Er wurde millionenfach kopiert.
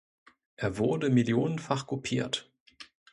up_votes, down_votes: 2, 0